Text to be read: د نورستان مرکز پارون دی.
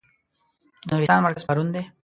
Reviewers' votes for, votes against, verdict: 0, 2, rejected